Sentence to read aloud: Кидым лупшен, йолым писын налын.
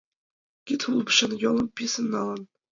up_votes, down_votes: 0, 2